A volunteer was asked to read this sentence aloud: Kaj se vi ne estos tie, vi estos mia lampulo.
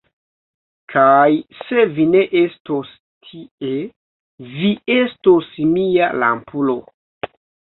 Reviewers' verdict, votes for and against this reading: rejected, 0, 2